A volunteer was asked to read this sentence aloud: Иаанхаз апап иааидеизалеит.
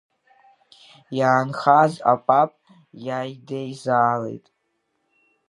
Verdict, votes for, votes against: rejected, 0, 2